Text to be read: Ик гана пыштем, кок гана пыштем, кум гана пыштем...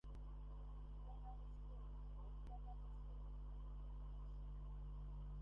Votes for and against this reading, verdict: 0, 2, rejected